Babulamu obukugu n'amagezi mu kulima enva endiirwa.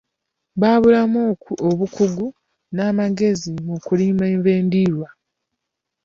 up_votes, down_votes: 2, 0